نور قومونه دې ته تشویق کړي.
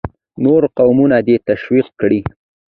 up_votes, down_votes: 2, 0